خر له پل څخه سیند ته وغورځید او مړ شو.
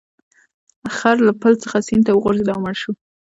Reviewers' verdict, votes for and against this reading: rejected, 1, 2